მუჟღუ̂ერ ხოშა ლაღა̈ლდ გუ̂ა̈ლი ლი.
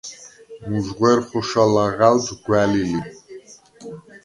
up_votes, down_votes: 2, 0